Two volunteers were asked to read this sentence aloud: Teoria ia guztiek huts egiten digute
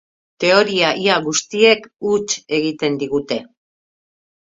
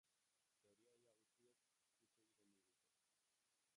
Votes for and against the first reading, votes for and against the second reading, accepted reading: 4, 1, 0, 4, first